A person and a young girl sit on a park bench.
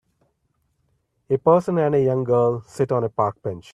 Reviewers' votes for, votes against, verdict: 2, 0, accepted